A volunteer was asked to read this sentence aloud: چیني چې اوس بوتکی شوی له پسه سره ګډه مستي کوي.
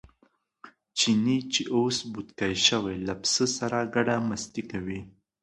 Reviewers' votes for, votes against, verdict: 2, 0, accepted